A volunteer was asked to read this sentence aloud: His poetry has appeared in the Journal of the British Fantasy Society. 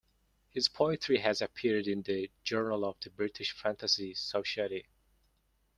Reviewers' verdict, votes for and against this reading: rejected, 0, 2